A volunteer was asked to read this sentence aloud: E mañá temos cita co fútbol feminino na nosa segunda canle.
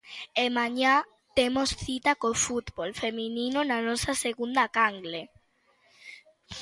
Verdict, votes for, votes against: accepted, 2, 0